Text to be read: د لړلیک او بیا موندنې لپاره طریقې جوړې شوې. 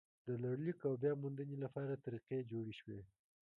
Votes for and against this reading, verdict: 2, 0, accepted